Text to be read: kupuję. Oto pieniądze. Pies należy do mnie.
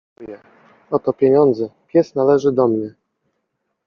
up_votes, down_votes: 0, 2